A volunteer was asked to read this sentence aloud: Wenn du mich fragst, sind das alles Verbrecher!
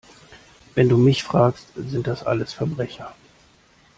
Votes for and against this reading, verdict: 2, 0, accepted